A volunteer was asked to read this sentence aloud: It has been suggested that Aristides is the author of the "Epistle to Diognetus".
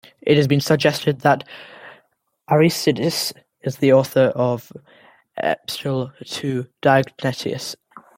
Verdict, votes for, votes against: rejected, 0, 2